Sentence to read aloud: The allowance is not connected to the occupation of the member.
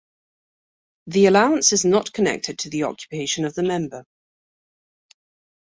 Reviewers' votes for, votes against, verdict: 2, 0, accepted